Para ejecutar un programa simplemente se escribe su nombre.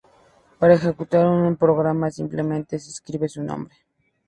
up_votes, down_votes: 2, 0